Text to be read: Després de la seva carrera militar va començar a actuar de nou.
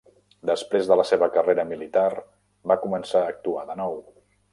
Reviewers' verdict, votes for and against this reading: accepted, 3, 0